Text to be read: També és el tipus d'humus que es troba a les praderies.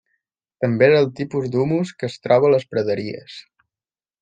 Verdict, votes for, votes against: accepted, 2, 0